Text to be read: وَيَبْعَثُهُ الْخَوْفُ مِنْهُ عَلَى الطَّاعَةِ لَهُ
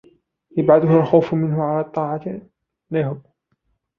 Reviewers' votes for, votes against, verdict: 0, 2, rejected